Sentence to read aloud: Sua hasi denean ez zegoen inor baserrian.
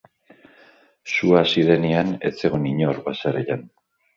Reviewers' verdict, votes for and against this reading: rejected, 2, 3